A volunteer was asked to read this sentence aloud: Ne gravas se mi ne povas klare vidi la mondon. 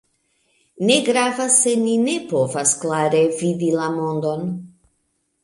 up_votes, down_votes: 2, 0